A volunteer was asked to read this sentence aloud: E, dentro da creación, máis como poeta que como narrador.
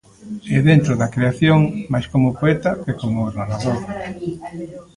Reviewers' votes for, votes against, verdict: 2, 0, accepted